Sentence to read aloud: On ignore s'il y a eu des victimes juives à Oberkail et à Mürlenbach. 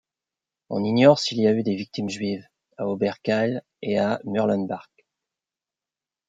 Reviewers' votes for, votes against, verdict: 1, 2, rejected